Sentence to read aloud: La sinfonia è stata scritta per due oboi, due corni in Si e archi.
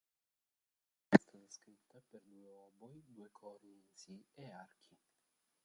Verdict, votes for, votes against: rejected, 0, 2